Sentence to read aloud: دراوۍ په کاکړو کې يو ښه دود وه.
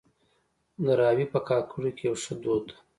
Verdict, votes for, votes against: accepted, 2, 1